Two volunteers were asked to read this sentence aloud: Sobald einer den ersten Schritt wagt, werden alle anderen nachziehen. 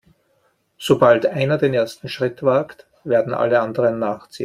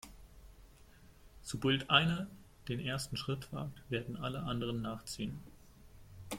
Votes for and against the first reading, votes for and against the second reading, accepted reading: 2, 0, 0, 2, first